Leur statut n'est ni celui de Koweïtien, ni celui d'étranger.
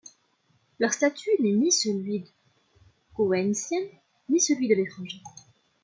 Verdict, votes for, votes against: rejected, 0, 2